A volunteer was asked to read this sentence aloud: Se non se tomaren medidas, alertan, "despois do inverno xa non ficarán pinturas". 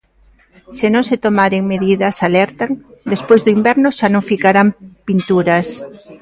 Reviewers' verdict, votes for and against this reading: accepted, 2, 0